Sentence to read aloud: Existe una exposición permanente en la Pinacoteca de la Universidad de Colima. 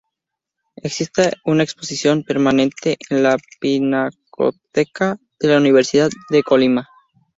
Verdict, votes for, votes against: accepted, 4, 0